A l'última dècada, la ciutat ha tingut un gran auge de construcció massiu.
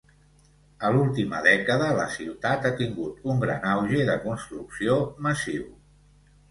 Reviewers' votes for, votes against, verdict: 2, 0, accepted